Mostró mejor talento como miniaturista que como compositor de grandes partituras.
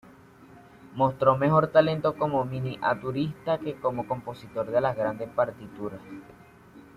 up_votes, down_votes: 1, 2